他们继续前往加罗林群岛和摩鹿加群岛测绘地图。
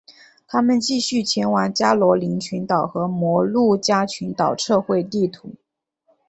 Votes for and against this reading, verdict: 2, 0, accepted